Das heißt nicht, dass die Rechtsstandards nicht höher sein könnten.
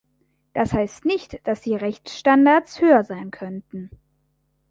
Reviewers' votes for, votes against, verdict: 0, 3, rejected